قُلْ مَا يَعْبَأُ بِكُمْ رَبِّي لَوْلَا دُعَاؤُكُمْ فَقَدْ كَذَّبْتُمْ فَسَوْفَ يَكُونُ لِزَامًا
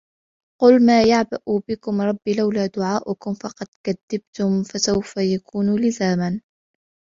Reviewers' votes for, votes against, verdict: 2, 0, accepted